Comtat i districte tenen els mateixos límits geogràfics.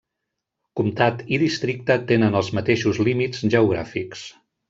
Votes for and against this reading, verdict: 3, 1, accepted